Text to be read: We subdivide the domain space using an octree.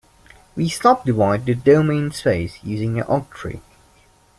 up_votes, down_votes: 0, 2